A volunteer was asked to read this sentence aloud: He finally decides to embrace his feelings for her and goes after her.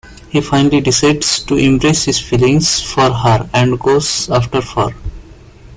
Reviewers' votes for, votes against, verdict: 2, 1, accepted